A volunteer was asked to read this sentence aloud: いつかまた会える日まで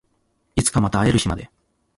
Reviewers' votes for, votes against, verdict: 2, 0, accepted